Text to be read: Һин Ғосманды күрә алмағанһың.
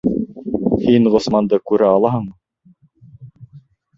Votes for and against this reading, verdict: 1, 2, rejected